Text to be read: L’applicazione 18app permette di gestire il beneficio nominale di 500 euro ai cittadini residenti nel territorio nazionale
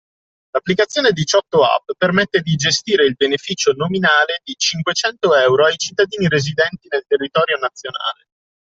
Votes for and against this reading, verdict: 0, 2, rejected